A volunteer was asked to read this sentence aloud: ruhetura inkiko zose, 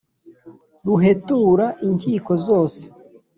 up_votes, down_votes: 2, 0